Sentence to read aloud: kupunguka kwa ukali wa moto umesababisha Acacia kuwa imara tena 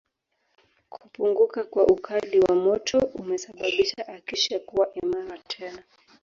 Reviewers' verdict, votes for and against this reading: accepted, 2, 0